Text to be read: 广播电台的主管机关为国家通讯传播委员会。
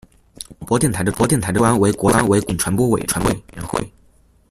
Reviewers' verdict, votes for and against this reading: rejected, 0, 2